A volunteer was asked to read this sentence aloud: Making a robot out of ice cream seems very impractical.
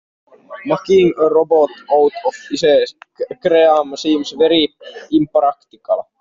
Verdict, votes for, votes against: rejected, 0, 2